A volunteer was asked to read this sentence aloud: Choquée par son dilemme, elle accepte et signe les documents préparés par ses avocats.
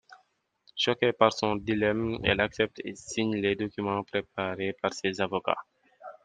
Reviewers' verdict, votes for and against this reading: accepted, 2, 0